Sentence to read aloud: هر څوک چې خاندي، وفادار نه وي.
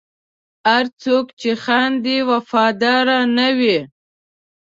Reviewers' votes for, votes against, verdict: 1, 2, rejected